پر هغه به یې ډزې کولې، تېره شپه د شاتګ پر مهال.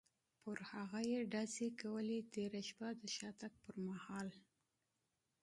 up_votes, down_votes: 1, 2